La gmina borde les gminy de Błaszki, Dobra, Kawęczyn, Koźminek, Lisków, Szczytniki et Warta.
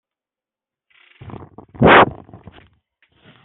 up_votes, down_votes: 0, 2